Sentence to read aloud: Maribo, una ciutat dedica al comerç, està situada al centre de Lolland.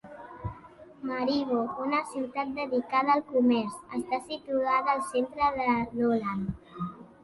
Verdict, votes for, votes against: rejected, 0, 2